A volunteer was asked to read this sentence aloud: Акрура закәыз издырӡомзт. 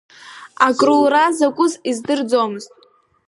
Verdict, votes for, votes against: accepted, 2, 0